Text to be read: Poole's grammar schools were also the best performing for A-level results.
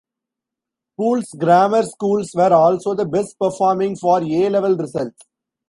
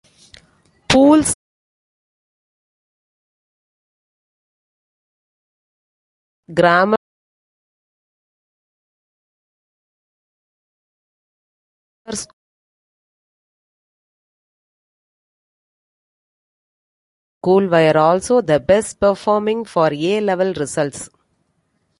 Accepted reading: first